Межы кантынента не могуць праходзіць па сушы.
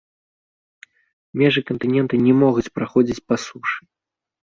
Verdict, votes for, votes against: accepted, 2, 0